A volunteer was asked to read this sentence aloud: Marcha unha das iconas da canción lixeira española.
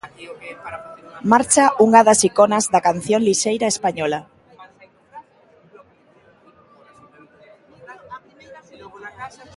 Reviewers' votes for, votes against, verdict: 1, 2, rejected